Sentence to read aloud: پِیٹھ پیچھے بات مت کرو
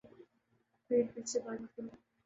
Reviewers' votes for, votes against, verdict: 2, 2, rejected